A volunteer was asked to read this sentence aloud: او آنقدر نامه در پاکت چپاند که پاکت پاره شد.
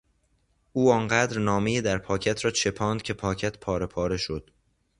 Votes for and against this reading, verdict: 0, 2, rejected